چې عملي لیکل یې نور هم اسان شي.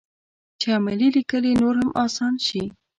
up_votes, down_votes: 0, 2